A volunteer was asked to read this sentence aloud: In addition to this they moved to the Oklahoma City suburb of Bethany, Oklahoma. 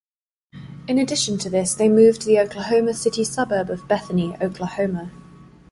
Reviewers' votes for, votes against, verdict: 4, 0, accepted